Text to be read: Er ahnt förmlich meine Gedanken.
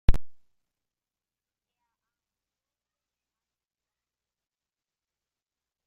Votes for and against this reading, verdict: 0, 2, rejected